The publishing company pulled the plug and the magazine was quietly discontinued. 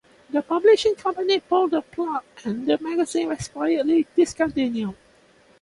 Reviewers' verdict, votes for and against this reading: accepted, 2, 0